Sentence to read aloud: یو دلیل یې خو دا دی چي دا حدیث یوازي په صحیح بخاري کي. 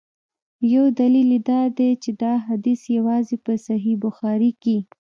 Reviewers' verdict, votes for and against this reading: rejected, 1, 2